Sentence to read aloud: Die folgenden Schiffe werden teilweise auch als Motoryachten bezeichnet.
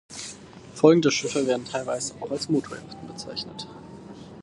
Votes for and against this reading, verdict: 0, 4, rejected